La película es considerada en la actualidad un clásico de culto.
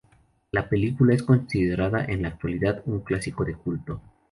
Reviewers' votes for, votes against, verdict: 2, 2, rejected